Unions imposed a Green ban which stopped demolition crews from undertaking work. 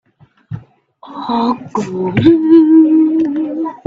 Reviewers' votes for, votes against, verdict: 0, 2, rejected